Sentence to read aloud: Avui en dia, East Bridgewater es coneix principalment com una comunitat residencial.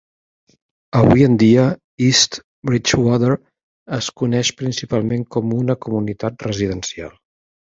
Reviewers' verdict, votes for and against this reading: accepted, 2, 0